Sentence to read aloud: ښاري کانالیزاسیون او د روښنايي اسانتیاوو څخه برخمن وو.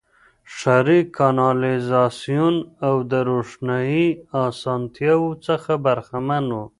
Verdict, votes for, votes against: accepted, 2, 0